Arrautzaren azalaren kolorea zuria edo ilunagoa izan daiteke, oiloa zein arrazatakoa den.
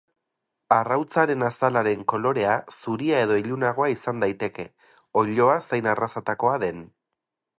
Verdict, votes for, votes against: rejected, 2, 2